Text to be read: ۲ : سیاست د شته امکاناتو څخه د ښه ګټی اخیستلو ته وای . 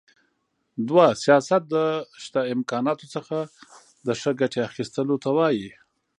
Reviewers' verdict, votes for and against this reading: rejected, 0, 2